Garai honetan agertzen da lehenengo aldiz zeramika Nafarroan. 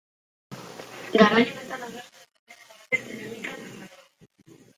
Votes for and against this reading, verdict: 0, 2, rejected